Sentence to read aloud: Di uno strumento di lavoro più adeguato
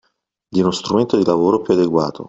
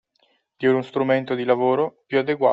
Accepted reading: first